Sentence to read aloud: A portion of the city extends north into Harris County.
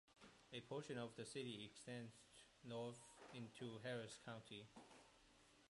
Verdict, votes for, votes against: accepted, 2, 0